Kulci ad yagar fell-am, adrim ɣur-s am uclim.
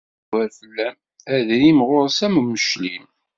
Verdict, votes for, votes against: rejected, 1, 2